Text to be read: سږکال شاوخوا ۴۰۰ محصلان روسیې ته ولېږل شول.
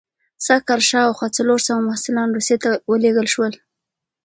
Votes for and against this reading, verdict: 0, 2, rejected